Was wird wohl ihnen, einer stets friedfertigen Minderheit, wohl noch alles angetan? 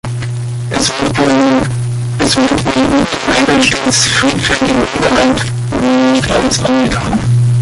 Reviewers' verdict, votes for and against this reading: rejected, 0, 2